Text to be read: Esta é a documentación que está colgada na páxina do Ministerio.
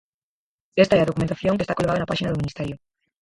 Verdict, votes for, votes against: rejected, 2, 4